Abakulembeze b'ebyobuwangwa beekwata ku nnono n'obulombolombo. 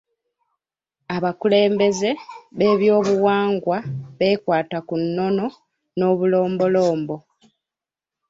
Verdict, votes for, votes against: accepted, 2, 1